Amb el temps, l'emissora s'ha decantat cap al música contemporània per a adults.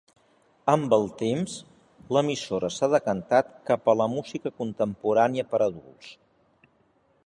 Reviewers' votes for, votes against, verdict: 1, 2, rejected